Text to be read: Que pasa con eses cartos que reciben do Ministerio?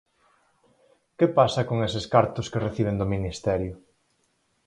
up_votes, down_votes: 4, 0